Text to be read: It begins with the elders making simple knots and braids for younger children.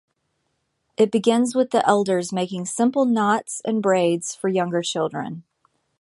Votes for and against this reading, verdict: 2, 0, accepted